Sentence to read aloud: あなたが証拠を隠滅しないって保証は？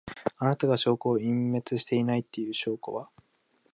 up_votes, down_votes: 0, 2